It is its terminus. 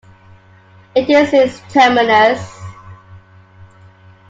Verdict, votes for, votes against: rejected, 0, 2